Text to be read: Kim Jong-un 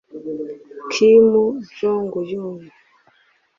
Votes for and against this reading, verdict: 1, 2, rejected